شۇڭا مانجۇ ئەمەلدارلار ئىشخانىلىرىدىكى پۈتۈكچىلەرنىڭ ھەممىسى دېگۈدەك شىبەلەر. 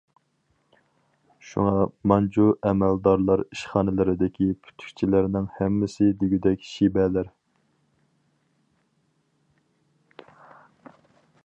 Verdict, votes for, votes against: accepted, 4, 0